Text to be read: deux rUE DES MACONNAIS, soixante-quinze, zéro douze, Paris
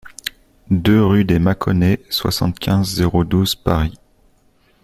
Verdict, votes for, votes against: accepted, 2, 0